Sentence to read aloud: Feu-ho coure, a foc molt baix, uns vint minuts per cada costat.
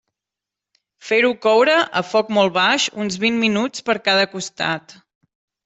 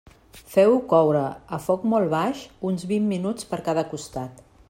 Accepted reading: second